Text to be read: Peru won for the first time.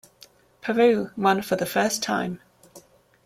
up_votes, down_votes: 2, 0